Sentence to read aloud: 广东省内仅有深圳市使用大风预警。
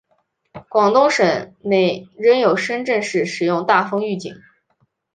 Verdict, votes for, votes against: rejected, 0, 2